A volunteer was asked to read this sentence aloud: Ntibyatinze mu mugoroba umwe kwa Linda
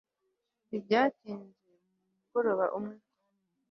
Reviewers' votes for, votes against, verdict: 1, 2, rejected